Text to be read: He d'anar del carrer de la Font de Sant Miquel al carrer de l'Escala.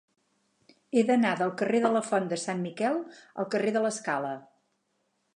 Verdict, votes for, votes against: accepted, 8, 0